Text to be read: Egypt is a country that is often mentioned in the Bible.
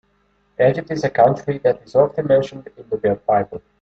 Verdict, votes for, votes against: rejected, 1, 2